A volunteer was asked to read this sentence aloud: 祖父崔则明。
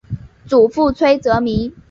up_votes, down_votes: 2, 0